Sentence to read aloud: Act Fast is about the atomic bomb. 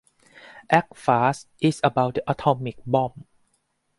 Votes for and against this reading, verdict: 2, 2, rejected